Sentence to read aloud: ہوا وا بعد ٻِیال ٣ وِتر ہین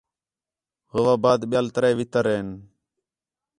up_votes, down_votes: 0, 2